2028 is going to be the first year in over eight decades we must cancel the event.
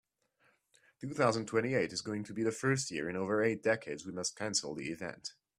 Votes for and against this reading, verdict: 0, 2, rejected